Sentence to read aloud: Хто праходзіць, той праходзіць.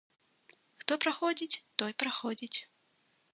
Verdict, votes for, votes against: accepted, 2, 0